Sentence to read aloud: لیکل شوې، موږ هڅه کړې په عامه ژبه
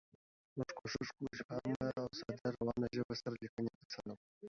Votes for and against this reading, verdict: 1, 2, rejected